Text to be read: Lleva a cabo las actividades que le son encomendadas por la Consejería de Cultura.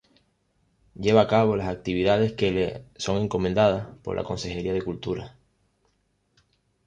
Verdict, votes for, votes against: accepted, 3, 0